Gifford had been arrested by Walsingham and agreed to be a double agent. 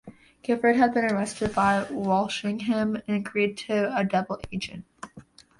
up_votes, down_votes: 0, 2